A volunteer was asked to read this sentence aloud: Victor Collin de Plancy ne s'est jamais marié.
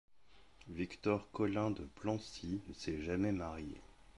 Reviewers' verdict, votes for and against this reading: accepted, 2, 0